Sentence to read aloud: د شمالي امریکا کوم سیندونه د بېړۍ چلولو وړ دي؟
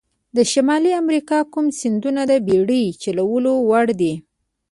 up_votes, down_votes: 2, 0